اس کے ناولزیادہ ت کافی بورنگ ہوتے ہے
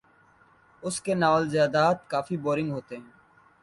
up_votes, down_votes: 2, 0